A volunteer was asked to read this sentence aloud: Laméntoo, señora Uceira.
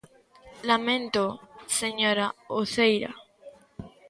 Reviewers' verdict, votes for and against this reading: accepted, 2, 1